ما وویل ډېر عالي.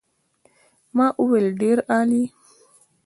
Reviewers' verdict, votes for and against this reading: rejected, 0, 2